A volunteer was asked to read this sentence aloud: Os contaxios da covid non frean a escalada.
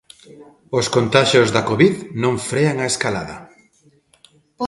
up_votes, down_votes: 0, 2